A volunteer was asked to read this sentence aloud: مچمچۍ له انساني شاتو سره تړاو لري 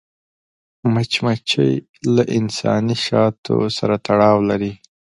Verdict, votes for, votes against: accepted, 2, 0